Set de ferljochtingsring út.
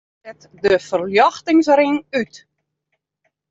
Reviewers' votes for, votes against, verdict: 1, 2, rejected